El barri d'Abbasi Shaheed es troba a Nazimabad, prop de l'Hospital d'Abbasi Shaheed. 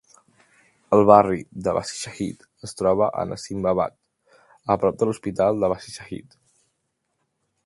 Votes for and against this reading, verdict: 2, 1, accepted